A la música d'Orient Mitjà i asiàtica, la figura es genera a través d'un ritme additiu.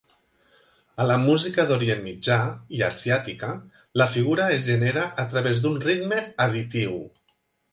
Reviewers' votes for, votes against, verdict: 2, 1, accepted